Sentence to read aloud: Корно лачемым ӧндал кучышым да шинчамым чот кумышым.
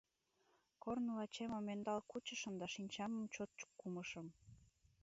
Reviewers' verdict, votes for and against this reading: rejected, 1, 2